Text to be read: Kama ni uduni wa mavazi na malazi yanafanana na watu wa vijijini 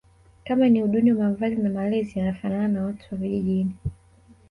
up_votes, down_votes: 1, 2